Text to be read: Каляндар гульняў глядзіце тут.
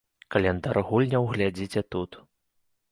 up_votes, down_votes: 2, 0